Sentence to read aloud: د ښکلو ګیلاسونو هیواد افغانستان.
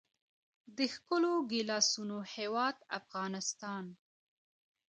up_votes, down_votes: 2, 1